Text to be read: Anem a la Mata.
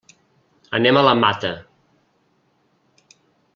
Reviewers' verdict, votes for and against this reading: accepted, 3, 0